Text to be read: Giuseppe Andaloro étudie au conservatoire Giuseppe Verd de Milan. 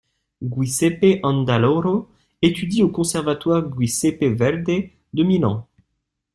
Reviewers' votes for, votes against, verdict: 1, 2, rejected